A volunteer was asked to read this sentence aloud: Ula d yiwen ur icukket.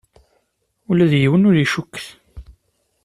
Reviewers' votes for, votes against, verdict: 2, 0, accepted